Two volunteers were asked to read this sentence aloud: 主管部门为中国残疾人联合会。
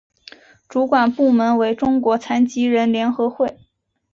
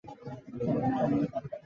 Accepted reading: first